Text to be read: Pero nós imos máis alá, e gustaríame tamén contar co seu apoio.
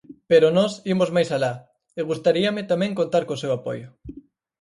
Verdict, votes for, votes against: accepted, 4, 0